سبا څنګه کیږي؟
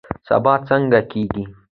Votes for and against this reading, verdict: 2, 0, accepted